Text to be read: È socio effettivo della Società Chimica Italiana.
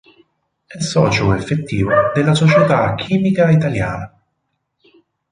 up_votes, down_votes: 0, 2